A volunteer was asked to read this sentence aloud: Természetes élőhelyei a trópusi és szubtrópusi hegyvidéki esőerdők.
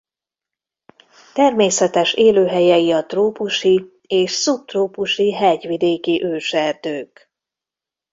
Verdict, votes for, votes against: rejected, 0, 2